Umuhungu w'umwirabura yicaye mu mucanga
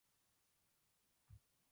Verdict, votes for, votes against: rejected, 0, 2